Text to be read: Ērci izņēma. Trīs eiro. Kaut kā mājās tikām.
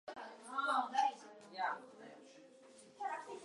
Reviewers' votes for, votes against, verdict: 0, 2, rejected